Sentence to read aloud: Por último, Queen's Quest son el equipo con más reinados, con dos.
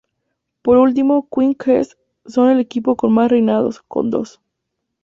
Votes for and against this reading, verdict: 2, 0, accepted